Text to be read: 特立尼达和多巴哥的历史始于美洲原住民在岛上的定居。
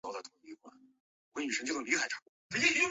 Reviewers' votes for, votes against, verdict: 0, 3, rejected